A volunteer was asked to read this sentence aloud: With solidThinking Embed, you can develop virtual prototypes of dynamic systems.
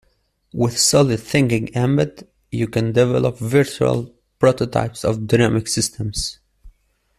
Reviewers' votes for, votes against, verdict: 2, 0, accepted